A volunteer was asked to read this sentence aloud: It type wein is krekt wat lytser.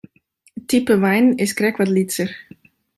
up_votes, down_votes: 2, 1